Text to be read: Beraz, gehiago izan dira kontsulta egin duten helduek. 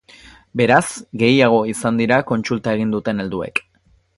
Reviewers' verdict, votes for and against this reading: accepted, 2, 0